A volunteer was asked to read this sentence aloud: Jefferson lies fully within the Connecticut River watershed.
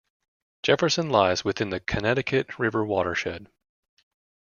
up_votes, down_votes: 0, 2